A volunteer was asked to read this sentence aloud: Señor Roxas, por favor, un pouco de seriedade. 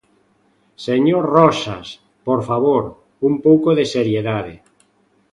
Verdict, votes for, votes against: accepted, 2, 1